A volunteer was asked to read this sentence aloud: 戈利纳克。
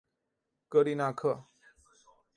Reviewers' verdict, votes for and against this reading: accepted, 2, 0